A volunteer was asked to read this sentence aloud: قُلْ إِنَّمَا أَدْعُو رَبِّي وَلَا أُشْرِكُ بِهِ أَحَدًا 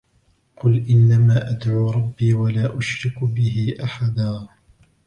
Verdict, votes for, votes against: rejected, 1, 2